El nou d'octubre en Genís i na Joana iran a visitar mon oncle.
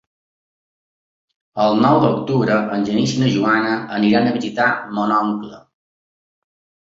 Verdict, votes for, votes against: rejected, 0, 3